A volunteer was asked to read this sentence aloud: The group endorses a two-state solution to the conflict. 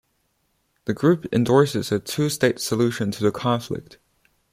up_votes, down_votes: 0, 2